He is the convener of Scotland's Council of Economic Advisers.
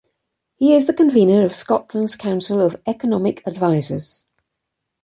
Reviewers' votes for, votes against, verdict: 2, 0, accepted